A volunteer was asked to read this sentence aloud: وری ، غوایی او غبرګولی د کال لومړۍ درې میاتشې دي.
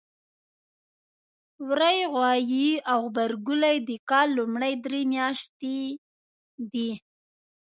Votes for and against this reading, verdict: 2, 0, accepted